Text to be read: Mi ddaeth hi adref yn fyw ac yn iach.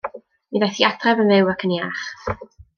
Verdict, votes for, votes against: rejected, 0, 2